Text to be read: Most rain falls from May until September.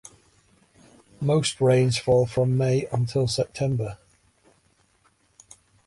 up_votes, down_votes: 0, 2